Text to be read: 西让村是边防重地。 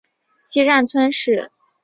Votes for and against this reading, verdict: 0, 2, rejected